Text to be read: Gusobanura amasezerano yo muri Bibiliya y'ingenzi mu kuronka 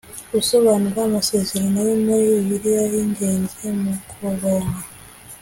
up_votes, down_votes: 2, 0